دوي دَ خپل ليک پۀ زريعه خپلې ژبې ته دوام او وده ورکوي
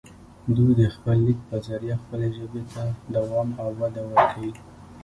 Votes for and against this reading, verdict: 1, 2, rejected